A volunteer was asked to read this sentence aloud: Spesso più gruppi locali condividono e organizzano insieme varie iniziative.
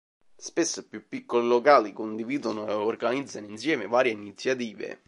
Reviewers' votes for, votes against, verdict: 0, 2, rejected